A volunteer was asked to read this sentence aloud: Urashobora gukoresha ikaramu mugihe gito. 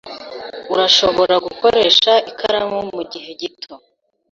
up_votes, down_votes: 4, 0